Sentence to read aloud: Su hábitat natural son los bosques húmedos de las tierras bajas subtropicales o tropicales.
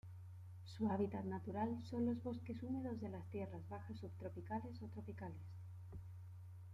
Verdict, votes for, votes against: accepted, 2, 1